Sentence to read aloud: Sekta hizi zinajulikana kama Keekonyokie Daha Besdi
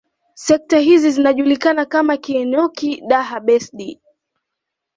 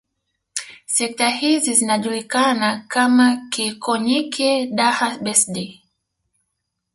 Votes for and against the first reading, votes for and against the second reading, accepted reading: 2, 0, 0, 2, first